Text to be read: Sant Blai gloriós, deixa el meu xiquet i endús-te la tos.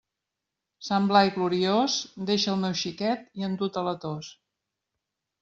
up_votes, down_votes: 1, 2